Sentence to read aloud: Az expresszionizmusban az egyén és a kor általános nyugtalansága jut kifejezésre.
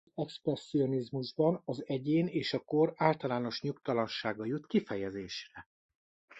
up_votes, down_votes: 2, 0